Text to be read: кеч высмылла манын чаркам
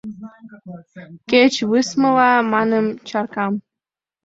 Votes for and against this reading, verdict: 2, 0, accepted